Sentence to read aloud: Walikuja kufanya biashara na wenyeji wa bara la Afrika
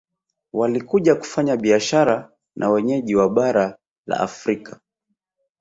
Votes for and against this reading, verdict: 2, 0, accepted